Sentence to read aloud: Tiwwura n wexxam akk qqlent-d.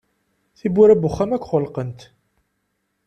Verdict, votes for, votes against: rejected, 0, 2